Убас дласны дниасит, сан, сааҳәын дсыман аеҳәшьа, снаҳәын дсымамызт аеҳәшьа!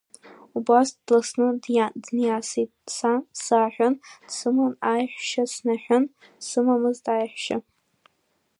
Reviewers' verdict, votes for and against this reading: rejected, 0, 2